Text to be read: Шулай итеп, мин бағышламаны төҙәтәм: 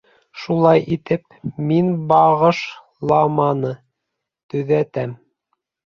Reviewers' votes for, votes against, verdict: 2, 3, rejected